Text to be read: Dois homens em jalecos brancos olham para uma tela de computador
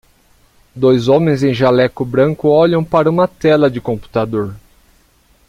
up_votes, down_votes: 1, 2